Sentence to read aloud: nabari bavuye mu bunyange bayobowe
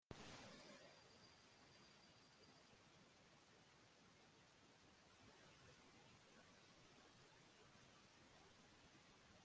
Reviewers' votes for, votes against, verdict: 0, 2, rejected